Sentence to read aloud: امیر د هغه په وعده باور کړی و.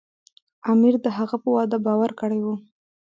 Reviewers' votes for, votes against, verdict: 2, 1, accepted